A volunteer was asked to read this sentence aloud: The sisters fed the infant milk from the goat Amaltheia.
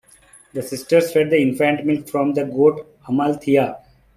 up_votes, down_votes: 2, 0